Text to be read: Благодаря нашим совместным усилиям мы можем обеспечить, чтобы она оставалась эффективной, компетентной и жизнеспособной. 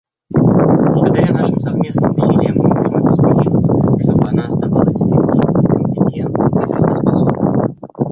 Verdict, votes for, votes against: rejected, 1, 2